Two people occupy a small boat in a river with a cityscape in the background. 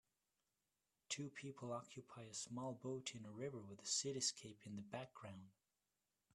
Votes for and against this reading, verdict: 1, 2, rejected